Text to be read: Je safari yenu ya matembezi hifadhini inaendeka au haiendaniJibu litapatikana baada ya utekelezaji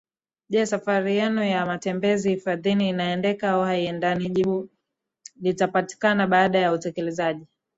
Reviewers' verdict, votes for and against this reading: accepted, 2, 0